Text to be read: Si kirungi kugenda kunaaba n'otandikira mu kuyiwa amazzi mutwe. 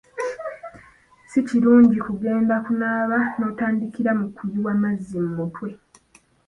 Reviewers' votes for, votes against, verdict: 2, 0, accepted